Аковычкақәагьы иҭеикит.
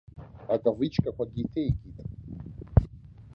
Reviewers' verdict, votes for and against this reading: rejected, 1, 2